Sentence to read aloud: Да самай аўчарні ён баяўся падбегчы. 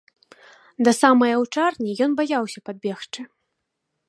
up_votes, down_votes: 2, 0